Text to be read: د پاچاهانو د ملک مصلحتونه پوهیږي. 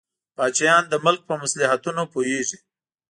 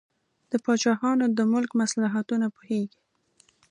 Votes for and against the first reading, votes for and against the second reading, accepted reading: 1, 2, 2, 0, second